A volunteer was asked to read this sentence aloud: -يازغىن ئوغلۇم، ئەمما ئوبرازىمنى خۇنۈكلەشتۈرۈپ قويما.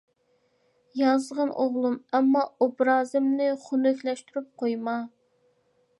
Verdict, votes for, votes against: accepted, 3, 0